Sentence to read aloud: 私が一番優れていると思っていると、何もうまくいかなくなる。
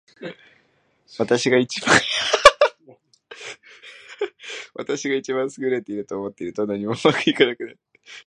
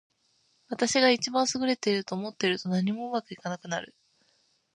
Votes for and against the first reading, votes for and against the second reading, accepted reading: 0, 2, 2, 1, second